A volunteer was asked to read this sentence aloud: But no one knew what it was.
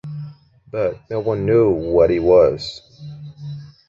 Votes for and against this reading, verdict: 0, 2, rejected